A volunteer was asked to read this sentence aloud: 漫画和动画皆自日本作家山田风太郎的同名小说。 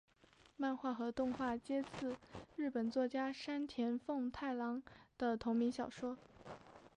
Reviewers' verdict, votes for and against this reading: accepted, 3, 0